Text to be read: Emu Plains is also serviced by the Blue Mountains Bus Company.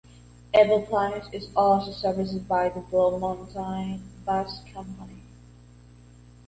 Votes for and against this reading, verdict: 0, 2, rejected